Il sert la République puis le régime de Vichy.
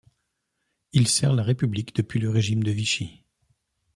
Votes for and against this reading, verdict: 1, 2, rejected